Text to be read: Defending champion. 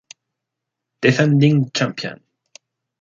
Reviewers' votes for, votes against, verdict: 2, 0, accepted